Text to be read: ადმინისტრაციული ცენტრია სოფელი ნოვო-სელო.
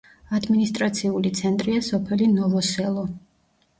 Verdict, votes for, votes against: accepted, 2, 0